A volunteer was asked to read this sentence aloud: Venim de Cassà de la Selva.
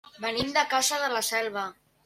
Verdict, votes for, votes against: rejected, 0, 2